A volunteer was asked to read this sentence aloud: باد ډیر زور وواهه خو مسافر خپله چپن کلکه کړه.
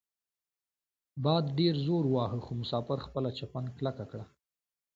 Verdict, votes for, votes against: accepted, 2, 0